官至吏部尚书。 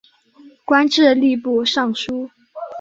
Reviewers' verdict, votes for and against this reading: accepted, 2, 0